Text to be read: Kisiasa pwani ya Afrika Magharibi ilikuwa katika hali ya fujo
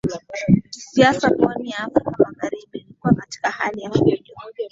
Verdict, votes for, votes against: rejected, 2, 7